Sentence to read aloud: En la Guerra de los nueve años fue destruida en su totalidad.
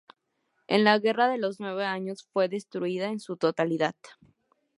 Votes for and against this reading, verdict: 2, 0, accepted